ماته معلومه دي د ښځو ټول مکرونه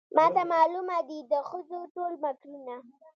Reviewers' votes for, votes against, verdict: 2, 0, accepted